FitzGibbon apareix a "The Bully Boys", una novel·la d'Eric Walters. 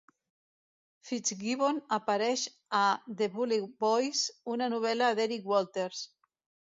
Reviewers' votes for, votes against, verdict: 1, 2, rejected